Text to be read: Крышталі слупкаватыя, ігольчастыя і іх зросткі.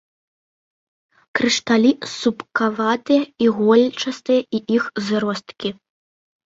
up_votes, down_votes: 1, 2